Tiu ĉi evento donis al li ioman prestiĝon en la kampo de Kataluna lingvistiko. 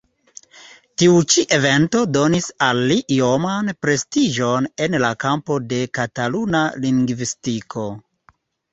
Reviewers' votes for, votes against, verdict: 2, 0, accepted